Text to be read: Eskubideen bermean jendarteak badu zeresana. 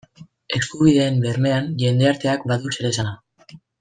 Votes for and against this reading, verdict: 1, 2, rejected